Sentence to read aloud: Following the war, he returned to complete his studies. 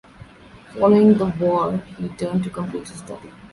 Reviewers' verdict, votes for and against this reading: rejected, 0, 2